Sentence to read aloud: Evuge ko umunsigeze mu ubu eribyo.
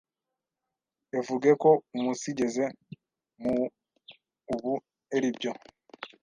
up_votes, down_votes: 1, 2